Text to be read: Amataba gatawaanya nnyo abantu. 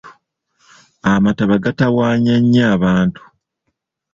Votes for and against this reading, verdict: 2, 1, accepted